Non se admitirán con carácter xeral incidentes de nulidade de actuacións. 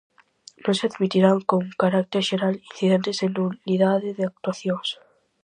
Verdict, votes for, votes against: accepted, 4, 0